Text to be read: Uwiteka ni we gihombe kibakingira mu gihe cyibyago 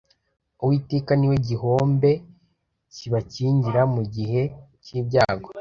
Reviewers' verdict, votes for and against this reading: rejected, 1, 2